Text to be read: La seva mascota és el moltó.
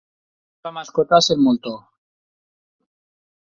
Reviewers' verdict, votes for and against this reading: rejected, 2, 4